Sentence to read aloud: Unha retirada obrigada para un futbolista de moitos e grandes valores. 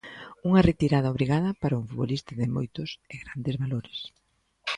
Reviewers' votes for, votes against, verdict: 2, 0, accepted